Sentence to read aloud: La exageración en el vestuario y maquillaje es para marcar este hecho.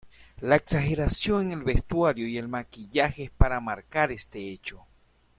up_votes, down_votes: 0, 2